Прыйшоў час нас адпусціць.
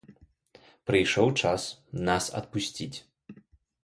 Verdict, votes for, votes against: accepted, 2, 0